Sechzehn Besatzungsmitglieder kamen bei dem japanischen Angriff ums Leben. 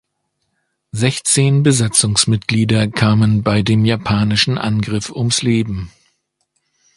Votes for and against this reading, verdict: 2, 0, accepted